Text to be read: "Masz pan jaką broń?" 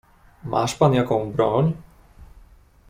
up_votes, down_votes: 2, 0